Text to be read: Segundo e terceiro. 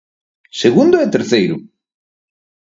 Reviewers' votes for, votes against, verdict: 6, 0, accepted